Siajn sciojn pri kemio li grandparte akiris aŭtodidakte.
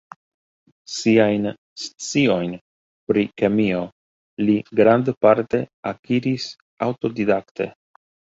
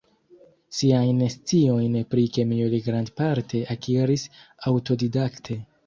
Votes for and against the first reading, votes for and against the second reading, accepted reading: 2, 1, 1, 2, first